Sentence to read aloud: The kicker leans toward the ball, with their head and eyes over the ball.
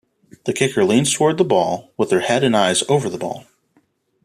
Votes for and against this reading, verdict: 2, 0, accepted